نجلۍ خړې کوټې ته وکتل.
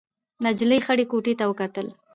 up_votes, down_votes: 1, 2